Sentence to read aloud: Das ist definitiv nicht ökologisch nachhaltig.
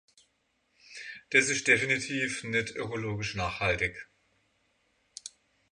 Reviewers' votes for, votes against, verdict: 6, 3, accepted